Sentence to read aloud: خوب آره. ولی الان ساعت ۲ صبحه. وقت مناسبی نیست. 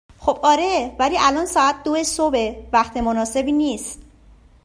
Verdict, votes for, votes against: rejected, 0, 2